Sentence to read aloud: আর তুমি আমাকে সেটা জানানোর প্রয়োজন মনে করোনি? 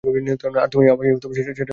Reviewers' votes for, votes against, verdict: 0, 2, rejected